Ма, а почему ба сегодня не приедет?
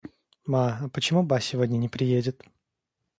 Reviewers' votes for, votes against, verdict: 2, 0, accepted